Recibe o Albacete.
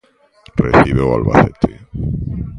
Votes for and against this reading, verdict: 2, 0, accepted